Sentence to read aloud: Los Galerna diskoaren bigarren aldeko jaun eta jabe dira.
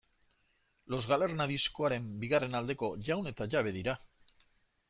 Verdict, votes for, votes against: accepted, 2, 0